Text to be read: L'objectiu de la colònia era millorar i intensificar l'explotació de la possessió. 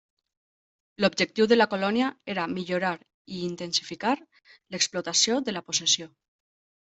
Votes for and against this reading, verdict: 0, 2, rejected